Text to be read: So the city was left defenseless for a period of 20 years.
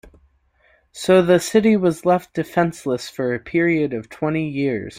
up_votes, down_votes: 0, 2